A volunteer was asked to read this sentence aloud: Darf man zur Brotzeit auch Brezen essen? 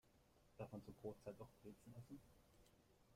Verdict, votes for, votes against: rejected, 1, 2